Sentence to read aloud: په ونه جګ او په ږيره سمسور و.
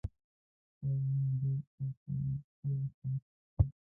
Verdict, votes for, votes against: rejected, 0, 2